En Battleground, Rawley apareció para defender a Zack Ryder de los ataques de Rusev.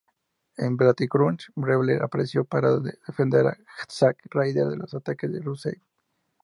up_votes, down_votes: 2, 0